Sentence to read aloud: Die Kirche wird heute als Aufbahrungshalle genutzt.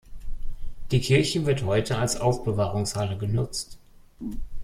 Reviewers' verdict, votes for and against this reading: rejected, 0, 2